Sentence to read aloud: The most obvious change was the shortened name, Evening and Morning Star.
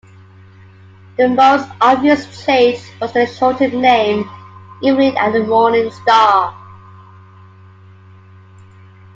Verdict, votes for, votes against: accepted, 2, 0